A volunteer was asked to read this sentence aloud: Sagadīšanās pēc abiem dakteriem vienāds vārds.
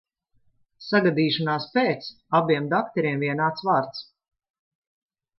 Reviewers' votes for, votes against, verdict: 2, 0, accepted